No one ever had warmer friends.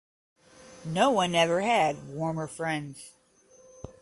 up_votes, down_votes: 10, 0